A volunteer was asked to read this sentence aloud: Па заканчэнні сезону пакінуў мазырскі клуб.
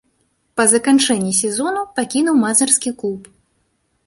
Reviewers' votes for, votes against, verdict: 0, 2, rejected